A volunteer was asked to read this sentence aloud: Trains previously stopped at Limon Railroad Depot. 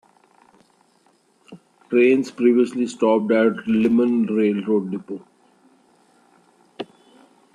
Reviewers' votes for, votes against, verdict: 2, 1, accepted